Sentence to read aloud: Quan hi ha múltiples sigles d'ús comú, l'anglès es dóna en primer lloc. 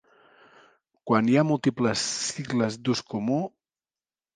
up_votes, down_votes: 1, 2